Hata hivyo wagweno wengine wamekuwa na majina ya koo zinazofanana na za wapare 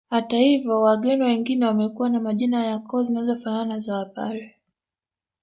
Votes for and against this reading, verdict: 1, 2, rejected